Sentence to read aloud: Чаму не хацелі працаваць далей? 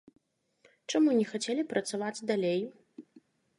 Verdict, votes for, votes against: accepted, 2, 0